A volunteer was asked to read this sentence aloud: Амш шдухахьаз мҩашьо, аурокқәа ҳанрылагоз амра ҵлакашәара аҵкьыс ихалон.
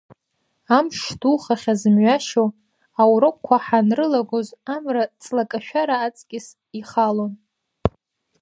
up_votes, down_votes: 0, 2